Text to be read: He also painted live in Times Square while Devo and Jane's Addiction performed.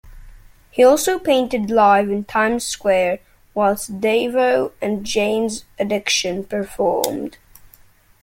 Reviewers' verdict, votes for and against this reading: rejected, 1, 2